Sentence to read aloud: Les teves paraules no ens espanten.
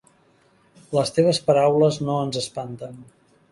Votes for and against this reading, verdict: 3, 0, accepted